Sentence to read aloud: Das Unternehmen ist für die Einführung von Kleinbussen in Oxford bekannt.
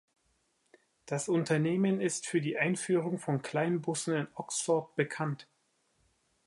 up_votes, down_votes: 2, 0